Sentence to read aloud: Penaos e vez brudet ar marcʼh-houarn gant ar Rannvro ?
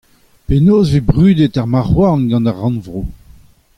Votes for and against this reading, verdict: 2, 1, accepted